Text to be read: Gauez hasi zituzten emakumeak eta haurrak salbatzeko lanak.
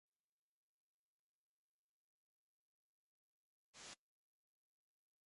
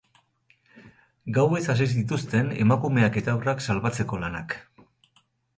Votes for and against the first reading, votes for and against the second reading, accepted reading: 0, 3, 4, 0, second